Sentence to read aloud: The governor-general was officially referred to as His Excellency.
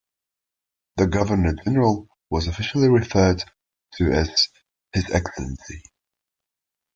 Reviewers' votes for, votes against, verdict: 0, 2, rejected